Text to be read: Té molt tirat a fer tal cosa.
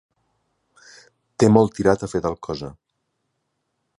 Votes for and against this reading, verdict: 3, 0, accepted